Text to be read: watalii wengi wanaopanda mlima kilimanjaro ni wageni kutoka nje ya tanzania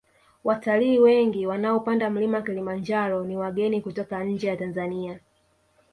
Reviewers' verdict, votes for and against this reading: accepted, 4, 0